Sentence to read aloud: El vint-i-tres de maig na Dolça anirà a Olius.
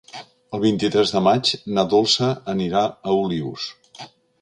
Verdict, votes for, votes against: accepted, 3, 0